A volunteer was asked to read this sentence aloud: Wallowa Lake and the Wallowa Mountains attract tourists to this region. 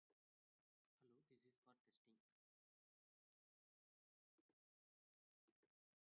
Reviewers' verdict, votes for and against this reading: rejected, 0, 3